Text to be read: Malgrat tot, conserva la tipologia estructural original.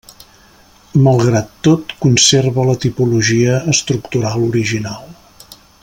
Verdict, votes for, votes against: accepted, 3, 0